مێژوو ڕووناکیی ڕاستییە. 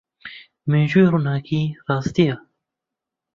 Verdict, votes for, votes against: rejected, 0, 2